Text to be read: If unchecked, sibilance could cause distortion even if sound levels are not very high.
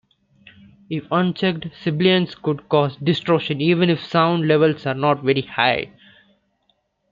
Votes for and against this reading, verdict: 2, 1, accepted